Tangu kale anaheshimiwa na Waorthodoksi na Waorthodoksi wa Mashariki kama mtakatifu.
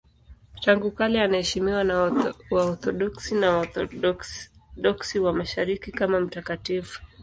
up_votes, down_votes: 0, 2